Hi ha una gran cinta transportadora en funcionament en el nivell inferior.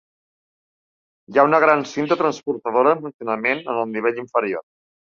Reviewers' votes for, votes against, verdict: 1, 2, rejected